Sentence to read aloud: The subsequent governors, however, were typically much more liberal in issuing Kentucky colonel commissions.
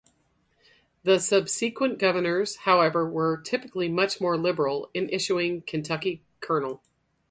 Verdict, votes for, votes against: rejected, 0, 4